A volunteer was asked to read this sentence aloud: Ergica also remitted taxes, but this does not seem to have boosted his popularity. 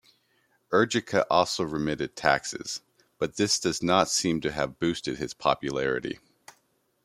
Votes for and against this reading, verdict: 2, 0, accepted